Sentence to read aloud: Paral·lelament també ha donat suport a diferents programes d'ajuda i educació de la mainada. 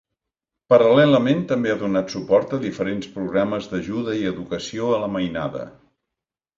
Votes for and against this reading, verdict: 1, 3, rejected